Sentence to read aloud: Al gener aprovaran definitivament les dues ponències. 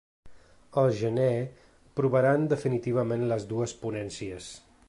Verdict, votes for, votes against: rejected, 0, 2